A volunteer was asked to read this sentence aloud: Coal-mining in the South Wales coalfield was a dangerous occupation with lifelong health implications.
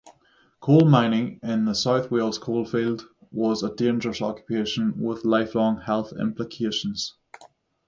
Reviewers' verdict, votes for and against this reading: accepted, 3, 0